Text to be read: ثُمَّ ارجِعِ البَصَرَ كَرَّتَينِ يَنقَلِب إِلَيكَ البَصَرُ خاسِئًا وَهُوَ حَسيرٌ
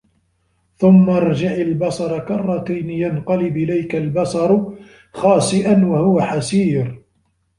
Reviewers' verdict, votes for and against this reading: rejected, 1, 2